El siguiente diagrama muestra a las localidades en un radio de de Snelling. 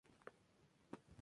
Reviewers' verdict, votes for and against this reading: rejected, 2, 2